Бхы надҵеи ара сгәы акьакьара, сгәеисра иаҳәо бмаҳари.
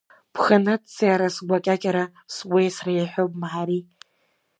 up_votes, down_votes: 2, 0